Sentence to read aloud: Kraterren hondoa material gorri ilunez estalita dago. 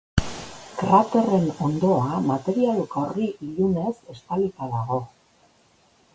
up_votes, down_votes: 3, 0